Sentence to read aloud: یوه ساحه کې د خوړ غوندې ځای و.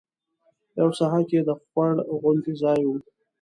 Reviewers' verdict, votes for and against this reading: accepted, 2, 1